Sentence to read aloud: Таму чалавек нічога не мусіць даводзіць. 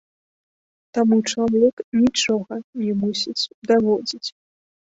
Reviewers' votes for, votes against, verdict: 2, 0, accepted